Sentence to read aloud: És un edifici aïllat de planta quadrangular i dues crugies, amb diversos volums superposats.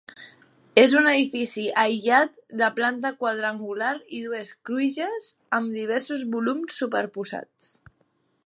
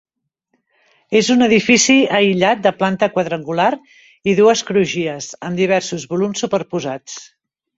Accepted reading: second